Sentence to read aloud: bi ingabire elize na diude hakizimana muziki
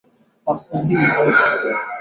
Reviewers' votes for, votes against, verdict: 5, 17, rejected